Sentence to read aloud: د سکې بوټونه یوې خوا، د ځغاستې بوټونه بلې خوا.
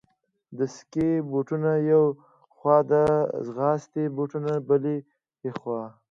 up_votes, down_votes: 2, 0